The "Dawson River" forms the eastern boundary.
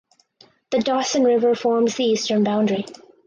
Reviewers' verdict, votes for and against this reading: accepted, 4, 0